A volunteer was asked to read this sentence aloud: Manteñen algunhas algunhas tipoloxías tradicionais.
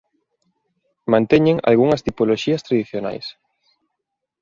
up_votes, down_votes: 1, 2